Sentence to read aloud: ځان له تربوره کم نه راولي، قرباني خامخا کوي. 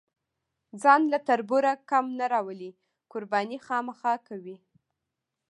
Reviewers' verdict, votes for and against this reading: rejected, 1, 2